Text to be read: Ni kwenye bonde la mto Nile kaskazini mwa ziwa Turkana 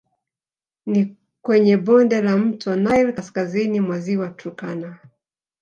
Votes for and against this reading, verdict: 0, 2, rejected